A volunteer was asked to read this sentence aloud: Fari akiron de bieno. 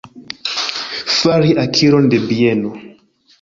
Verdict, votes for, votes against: rejected, 0, 2